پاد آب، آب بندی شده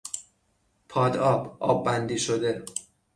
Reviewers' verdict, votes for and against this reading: accepted, 6, 0